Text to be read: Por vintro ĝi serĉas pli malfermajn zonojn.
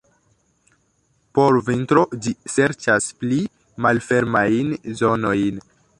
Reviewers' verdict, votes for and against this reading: accepted, 2, 0